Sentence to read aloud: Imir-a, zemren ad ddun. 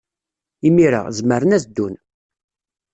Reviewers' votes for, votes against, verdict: 2, 0, accepted